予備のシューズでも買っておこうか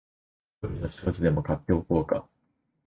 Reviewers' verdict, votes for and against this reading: rejected, 0, 2